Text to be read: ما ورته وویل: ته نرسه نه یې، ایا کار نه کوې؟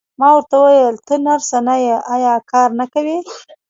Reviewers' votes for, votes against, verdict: 1, 2, rejected